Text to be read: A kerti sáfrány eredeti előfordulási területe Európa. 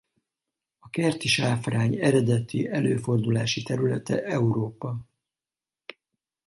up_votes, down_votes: 2, 2